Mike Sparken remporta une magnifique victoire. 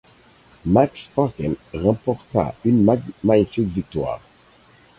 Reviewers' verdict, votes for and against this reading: rejected, 2, 4